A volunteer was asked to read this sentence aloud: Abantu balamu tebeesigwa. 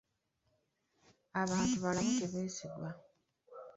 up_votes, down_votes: 1, 2